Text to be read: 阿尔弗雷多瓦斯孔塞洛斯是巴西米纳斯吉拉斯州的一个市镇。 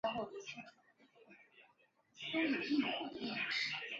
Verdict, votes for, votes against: rejected, 0, 2